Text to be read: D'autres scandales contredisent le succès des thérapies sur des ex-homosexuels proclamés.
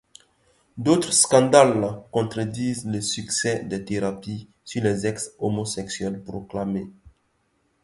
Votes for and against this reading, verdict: 1, 2, rejected